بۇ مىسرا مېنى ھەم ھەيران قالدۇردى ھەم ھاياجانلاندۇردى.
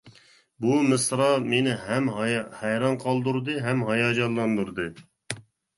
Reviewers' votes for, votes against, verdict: 1, 2, rejected